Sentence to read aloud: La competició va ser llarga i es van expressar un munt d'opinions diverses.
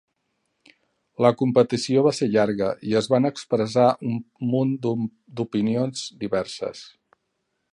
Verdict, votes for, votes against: rejected, 0, 2